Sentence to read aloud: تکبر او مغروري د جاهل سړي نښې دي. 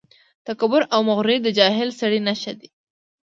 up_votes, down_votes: 2, 0